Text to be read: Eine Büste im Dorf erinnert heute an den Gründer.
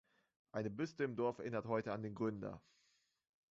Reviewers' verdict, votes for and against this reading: rejected, 1, 2